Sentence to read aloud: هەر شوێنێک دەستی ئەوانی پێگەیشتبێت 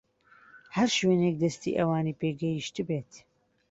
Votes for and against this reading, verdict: 2, 0, accepted